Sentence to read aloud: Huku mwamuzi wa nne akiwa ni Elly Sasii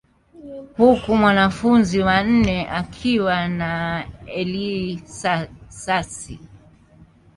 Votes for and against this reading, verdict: 0, 3, rejected